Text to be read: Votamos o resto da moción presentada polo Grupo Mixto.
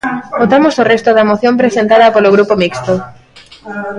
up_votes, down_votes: 2, 0